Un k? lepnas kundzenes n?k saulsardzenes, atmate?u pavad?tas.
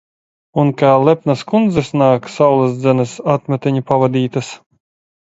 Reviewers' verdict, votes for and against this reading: rejected, 0, 2